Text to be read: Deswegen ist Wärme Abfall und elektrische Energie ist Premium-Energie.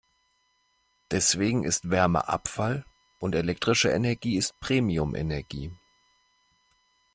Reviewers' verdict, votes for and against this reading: accepted, 2, 0